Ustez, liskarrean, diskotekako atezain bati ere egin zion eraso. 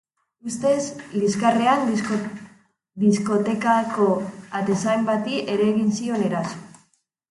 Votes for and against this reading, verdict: 2, 2, rejected